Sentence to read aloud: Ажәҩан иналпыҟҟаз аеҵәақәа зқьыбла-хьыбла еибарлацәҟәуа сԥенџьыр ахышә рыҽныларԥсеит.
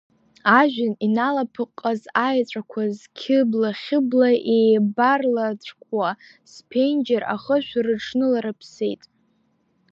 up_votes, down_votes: 2, 3